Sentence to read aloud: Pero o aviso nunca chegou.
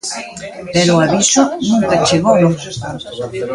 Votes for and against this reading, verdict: 1, 2, rejected